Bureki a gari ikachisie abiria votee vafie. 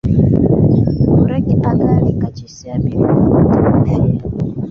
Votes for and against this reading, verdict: 0, 2, rejected